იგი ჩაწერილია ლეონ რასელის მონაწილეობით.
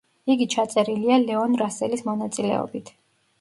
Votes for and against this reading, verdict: 2, 0, accepted